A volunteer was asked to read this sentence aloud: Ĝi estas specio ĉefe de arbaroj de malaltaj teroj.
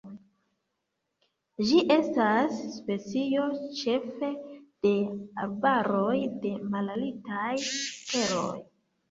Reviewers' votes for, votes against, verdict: 1, 2, rejected